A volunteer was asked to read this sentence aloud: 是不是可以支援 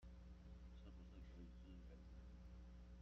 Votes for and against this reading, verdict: 0, 2, rejected